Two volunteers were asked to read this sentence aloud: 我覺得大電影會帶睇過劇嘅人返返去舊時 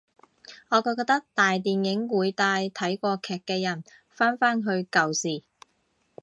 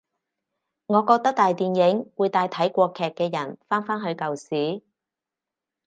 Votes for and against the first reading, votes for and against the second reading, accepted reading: 1, 2, 2, 0, second